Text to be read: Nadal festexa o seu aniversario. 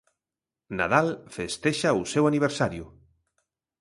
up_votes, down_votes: 3, 0